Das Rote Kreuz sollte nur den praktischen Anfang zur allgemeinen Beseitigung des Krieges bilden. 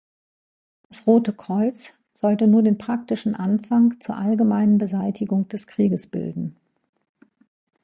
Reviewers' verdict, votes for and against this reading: rejected, 1, 2